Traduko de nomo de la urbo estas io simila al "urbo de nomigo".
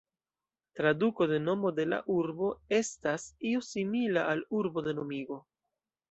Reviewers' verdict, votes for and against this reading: accepted, 2, 0